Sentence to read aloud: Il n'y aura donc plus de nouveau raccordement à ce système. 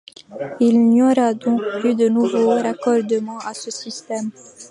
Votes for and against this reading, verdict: 2, 1, accepted